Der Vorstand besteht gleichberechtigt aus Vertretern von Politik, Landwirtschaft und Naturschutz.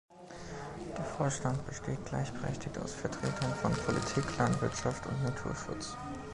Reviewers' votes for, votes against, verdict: 0, 2, rejected